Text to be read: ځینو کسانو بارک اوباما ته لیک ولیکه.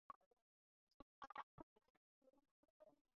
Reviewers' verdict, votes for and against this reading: rejected, 0, 4